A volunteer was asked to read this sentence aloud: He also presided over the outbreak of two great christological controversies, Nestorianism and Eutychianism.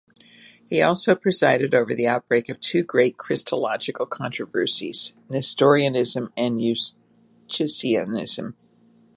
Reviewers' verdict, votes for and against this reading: rejected, 1, 2